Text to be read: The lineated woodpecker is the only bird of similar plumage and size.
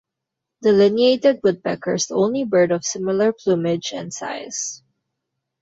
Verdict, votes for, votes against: rejected, 1, 2